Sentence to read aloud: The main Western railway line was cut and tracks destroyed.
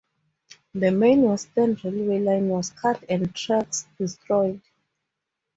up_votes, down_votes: 2, 2